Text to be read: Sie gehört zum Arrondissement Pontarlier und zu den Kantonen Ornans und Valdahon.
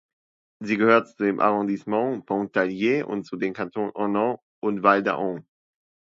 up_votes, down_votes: 0, 2